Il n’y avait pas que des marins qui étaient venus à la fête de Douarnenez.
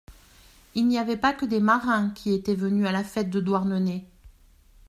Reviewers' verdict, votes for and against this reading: accepted, 2, 0